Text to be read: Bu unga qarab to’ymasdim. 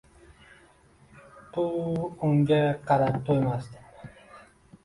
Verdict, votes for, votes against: rejected, 1, 2